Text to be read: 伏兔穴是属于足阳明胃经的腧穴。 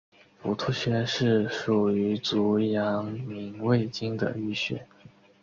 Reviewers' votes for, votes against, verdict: 4, 0, accepted